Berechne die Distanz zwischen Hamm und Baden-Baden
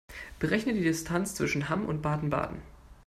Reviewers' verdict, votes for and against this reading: accepted, 2, 0